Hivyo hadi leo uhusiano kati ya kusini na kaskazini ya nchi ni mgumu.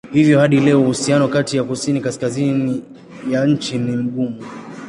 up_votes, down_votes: 1, 2